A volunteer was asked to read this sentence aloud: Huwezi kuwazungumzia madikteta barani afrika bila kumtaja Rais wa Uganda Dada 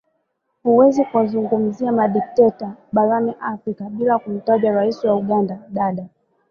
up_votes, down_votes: 3, 1